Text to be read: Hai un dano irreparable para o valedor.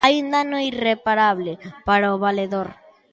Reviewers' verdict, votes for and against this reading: accepted, 2, 0